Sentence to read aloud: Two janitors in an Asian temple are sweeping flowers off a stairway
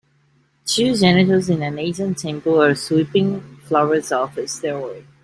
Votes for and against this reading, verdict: 2, 1, accepted